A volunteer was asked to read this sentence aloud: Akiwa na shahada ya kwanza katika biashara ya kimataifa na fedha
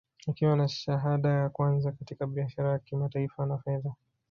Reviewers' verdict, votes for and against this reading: accepted, 2, 1